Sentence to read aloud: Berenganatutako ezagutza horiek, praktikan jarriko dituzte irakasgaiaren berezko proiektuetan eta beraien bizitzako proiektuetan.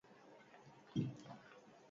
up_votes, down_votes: 0, 4